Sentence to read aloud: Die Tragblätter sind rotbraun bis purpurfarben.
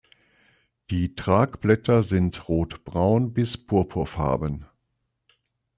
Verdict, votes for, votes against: accepted, 2, 0